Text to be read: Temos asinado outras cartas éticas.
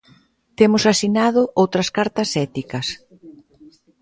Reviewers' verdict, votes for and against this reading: accepted, 2, 1